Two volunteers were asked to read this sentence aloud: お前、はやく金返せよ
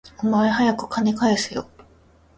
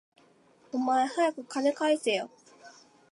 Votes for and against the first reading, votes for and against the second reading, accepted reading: 1, 2, 3, 0, second